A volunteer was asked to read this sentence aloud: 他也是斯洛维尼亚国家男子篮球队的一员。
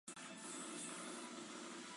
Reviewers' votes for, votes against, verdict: 1, 4, rejected